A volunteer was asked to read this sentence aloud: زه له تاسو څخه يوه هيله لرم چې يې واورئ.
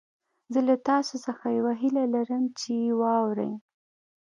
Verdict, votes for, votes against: accepted, 2, 0